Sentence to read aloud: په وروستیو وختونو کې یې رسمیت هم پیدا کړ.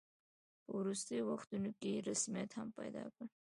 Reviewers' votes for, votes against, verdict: 0, 2, rejected